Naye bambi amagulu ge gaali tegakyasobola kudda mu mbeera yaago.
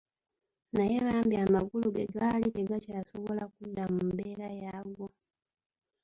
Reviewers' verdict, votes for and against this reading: rejected, 1, 2